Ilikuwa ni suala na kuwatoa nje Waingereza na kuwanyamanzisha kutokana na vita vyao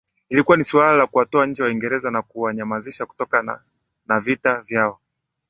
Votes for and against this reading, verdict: 10, 0, accepted